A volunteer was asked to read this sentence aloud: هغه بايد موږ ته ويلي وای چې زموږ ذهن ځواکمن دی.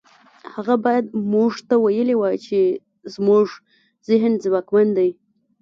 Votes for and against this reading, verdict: 2, 0, accepted